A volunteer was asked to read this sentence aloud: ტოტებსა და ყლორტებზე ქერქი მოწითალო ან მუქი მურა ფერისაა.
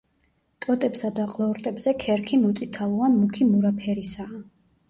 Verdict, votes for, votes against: rejected, 1, 2